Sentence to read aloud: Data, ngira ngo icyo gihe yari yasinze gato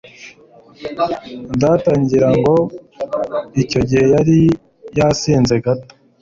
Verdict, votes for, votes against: accepted, 2, 0